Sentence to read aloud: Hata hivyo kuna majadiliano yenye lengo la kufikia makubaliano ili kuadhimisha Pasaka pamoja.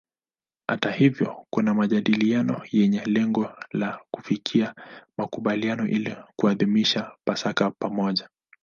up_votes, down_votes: 1, 2